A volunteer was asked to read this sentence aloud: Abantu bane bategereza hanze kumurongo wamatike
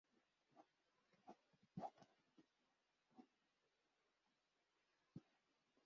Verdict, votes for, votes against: rejected, 0, 2